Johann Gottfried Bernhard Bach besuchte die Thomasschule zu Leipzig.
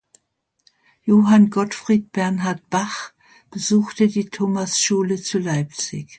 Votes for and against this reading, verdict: 2, 0, accepted